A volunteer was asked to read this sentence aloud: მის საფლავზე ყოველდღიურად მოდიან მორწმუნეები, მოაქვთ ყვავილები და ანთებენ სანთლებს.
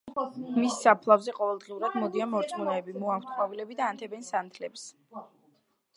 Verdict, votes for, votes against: accepted, 2, 0